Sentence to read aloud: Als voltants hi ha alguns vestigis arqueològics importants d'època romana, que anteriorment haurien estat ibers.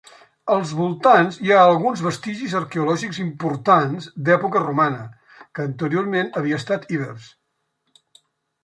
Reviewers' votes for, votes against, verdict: 0, 2, rejected